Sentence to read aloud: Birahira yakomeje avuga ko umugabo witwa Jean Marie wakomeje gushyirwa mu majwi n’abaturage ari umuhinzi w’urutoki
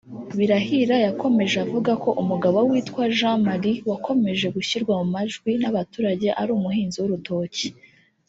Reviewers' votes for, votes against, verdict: 1, 2, rejected